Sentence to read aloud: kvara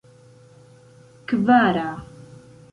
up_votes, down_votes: 2, 0